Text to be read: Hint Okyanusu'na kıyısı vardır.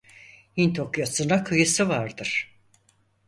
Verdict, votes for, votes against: rejected, 2, 4